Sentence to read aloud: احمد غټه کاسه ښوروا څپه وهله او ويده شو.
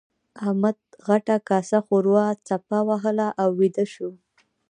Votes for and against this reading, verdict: 2, 1, accepted